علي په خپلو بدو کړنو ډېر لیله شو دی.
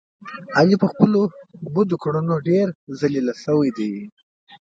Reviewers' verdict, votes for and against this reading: accepted, 2, 1